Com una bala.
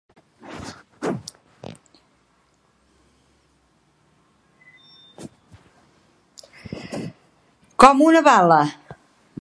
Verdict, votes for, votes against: rejected, 0, 2